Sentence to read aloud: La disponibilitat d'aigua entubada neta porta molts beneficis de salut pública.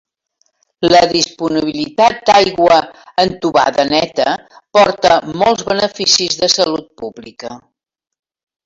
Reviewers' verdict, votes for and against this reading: rejected, 0, 2